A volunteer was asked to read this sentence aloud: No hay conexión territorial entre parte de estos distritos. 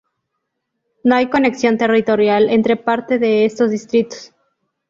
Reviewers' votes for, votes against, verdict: 2, 0, accepted